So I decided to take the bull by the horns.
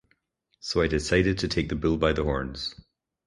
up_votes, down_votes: 6, 0